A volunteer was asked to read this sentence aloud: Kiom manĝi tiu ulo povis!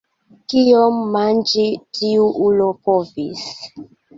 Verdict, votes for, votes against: accepted, 2, 0